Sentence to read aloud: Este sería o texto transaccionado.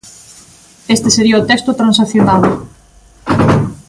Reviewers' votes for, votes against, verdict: 3, 2, accepted